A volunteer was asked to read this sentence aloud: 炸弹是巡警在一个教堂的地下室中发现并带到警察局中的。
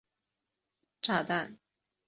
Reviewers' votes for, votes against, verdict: 0, 4, rejected